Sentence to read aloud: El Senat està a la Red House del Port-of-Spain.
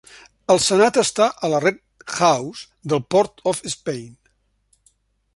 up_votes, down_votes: 2, 0